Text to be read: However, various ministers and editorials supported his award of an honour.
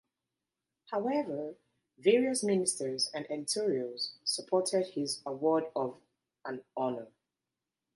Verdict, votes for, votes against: rejected, 0, 2